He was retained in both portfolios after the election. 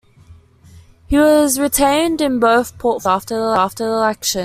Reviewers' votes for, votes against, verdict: 1, 2, rejected